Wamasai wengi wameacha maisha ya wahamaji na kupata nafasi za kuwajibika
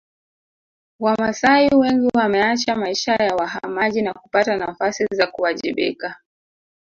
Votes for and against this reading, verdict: 1, 3, rejected